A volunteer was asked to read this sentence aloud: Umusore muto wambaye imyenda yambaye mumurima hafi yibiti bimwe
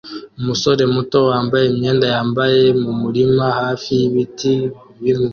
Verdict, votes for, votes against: accepted, 2, 1